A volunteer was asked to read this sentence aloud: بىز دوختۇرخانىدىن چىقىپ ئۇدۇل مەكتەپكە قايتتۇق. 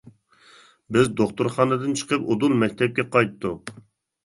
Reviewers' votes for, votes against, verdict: 2, 0, accepted